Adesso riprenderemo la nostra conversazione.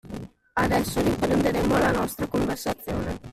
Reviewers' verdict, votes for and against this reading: rejected, 1, 2